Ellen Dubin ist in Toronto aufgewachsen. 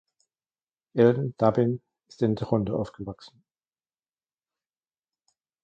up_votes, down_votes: 2, 1